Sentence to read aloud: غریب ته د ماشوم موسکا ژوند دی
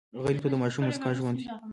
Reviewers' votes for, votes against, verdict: 2, 0, accepted